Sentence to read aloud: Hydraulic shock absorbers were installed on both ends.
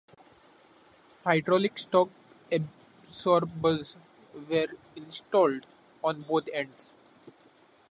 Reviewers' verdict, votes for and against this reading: rejected, 0, 2